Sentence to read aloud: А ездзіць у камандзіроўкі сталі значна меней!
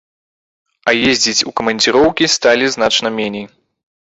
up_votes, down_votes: 2, 0